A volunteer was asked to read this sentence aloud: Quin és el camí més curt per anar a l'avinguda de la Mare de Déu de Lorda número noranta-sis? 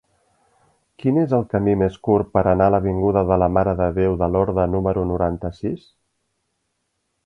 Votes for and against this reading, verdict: 2, 0, accepted